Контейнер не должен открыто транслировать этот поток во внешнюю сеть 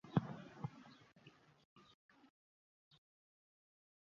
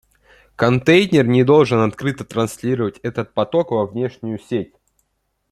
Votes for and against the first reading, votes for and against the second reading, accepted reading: 0, 2, 2, 0, second